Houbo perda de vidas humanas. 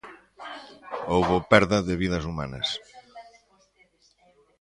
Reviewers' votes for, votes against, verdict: 1, 2, rejected